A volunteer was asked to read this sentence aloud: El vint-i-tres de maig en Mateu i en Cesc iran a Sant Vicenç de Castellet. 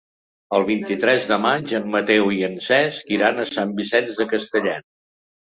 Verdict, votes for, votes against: rejected, 0, 2